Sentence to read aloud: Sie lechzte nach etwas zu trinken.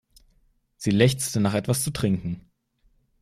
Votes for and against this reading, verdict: 2, 0, accepted